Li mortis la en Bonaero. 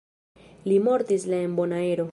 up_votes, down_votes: 1, 2